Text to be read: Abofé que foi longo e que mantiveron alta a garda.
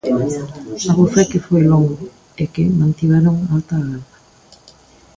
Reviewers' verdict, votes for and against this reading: rejected, 1, 2